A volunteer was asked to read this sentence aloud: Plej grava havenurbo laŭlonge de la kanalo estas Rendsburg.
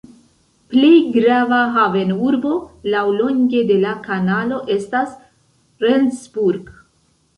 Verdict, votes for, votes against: accepted, 2, 0